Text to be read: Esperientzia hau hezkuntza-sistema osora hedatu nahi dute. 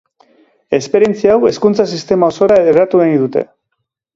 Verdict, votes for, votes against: accepted, 3, 0